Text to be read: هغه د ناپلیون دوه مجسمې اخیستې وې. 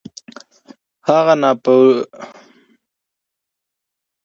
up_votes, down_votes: 0, 2